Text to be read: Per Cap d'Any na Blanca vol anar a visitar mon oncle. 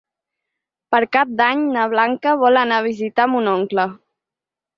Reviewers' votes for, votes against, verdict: 6, 0, accepted